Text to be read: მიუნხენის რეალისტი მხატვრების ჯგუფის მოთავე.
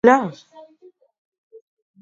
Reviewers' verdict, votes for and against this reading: rejected, 0, 2